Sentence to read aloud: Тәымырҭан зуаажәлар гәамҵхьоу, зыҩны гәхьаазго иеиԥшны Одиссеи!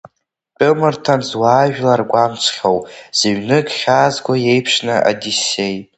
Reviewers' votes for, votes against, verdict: 1, 2, rejected